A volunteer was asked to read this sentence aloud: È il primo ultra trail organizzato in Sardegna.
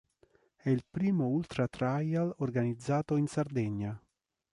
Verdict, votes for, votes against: rejected, 0, 3